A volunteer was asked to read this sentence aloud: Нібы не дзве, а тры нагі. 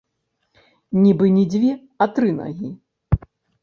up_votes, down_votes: 0, 2